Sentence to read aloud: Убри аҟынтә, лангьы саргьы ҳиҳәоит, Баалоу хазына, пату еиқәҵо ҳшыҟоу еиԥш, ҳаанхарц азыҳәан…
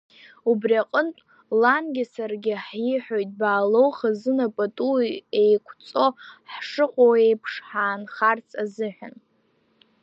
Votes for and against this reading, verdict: 2, 0, accepted